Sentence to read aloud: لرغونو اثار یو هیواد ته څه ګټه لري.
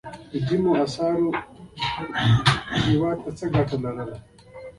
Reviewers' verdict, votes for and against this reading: accepted, 2, 1